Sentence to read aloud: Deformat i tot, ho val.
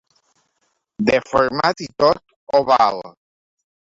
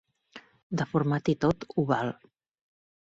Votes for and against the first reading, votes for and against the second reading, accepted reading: 1, 3, 2, 0, second